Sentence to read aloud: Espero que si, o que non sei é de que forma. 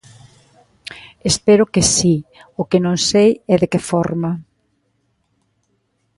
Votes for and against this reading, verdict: 2, 0, accepted